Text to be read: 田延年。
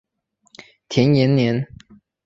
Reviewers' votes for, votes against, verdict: 3, 0, accepted